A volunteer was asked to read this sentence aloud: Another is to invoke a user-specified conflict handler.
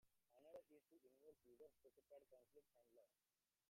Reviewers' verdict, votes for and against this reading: rejected, 0, 2